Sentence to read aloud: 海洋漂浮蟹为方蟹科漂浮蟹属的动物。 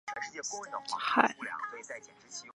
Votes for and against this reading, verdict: 0, 2, rejected